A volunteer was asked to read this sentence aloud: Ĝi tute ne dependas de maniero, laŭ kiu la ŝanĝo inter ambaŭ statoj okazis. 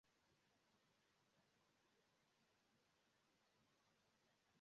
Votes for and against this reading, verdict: 0, 2, rejected